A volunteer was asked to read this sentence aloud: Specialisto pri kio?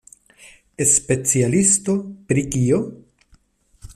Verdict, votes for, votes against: rejected, 0, 2